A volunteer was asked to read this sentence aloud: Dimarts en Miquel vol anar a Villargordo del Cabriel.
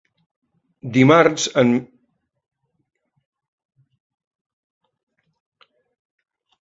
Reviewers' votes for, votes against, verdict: 0, 2, rejected